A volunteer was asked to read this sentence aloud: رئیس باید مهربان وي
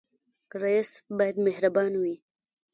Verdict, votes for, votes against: rejected, 1, 2